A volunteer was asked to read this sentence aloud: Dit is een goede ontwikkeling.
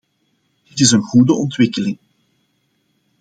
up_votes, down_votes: 2, 1